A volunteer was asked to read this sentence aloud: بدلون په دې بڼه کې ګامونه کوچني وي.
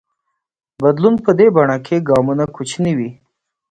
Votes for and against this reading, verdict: 2, 0, accepted